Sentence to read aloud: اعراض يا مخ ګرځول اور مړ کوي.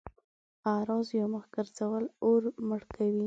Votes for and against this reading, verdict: 2, 0, accepted